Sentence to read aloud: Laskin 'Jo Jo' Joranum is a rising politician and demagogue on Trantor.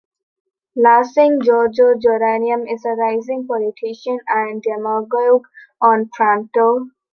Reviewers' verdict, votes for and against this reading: rejected, 0, 2